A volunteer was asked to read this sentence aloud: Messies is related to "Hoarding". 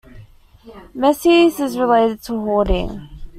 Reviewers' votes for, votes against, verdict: 2, 0, accepted